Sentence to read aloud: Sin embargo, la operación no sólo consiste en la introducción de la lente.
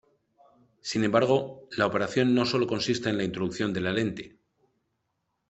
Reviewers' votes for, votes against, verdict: 2, 1, accepted